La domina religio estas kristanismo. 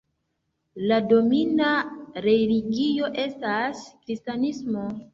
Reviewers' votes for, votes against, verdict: 2, 0, accepted